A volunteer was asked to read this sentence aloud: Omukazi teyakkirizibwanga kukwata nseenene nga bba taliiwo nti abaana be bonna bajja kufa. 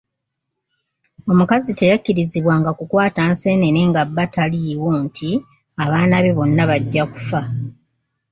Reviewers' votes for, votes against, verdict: 2, 0, accepted